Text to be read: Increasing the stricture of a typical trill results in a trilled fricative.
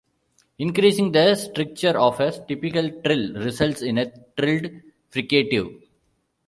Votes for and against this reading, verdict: 0, 2, rejected